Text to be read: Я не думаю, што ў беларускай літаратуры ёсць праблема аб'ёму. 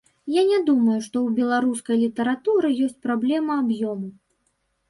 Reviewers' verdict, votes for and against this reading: accepted, 2, 0